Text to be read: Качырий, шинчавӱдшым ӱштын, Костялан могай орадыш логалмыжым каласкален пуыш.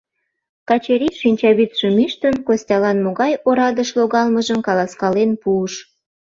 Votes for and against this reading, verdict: 2, 0, accepted